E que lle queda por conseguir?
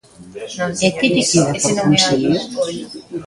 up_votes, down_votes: 0, 2